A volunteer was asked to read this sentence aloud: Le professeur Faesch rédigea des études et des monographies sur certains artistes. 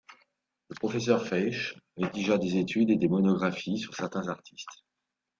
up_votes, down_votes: 2, 0